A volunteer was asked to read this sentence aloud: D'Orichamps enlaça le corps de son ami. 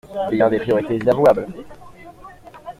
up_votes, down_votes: 0, 2